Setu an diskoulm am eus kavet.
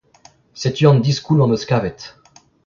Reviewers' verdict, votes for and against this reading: accepted, 2, 0